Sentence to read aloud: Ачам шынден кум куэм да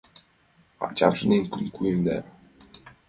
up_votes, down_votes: 0, 2